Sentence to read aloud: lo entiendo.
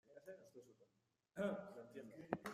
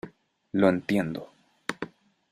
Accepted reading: second